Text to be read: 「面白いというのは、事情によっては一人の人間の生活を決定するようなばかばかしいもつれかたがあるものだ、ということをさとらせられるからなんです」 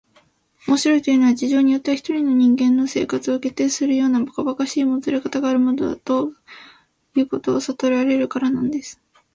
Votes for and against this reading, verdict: 3, 0, accepted